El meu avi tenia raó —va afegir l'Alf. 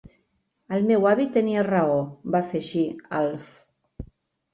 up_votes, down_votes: 1, 3